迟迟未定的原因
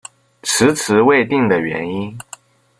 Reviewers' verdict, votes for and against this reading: accepted, 2, 1